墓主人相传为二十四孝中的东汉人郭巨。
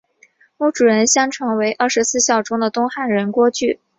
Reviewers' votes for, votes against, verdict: 4, 1, accepted